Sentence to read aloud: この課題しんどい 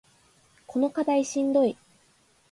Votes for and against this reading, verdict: 2, 0, accepted